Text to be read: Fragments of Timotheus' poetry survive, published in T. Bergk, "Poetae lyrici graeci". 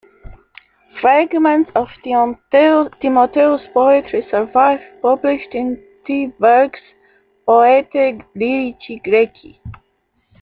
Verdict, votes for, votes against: rejected, 0, 2